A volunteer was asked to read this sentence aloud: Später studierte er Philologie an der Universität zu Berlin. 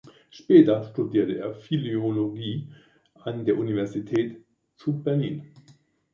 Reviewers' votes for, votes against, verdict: 0, 2, rejected